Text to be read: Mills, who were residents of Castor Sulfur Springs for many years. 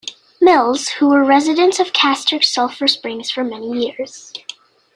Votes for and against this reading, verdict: 2, 0, accepted